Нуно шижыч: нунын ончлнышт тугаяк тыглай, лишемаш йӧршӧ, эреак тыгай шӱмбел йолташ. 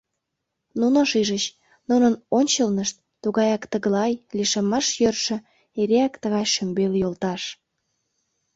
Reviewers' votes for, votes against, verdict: 2, 0, accepted